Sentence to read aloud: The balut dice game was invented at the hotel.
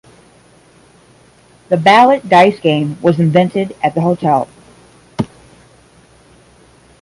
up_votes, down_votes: 10, 0